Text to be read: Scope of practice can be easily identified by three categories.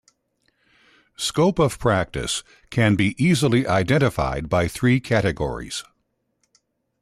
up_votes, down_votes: 2, 0